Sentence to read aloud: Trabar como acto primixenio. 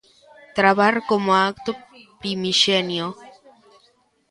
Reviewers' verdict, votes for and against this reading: rejected, 0, 2